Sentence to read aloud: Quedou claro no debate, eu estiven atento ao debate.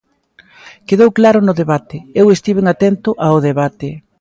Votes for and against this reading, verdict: 2, 0, accepted